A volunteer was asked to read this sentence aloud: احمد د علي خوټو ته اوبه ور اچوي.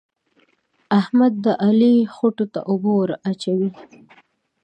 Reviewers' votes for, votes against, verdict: 1, 2, rejected